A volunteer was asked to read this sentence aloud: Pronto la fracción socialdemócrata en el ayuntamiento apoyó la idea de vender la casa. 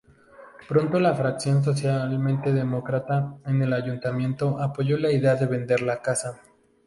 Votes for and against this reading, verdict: 0, 2, rejected